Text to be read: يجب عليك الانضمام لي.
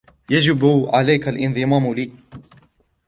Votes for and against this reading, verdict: 2, 1, accepted